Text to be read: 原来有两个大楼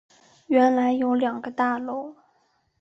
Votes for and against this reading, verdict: 2, 0, accepted